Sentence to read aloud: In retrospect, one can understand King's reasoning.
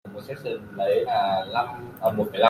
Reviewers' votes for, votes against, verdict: 0, 2, rejected